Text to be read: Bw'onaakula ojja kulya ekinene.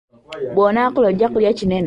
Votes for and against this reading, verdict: 2, 0, accepted